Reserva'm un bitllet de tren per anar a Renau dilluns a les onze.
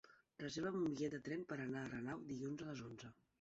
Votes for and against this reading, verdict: 4, 0, accepted